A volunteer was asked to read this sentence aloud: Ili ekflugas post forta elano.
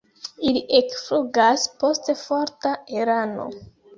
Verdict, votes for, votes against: rejected, 0, 2